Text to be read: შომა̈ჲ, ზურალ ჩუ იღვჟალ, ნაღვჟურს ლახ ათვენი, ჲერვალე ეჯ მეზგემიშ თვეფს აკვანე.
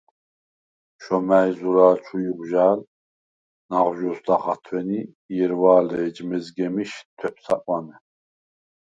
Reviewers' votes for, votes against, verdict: 0, 4, rejected